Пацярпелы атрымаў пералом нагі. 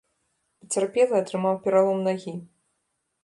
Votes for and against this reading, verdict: 1, 2, rejected